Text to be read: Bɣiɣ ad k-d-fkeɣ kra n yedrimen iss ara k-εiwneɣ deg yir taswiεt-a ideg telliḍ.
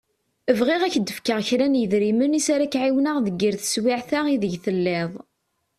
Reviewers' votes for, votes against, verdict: 2, 0, accepted